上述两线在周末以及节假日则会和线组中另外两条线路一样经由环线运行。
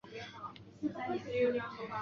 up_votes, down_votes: 1, 5